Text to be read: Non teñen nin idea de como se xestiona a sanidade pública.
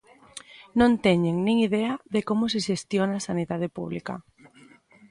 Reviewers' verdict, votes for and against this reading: accepted, 2, 1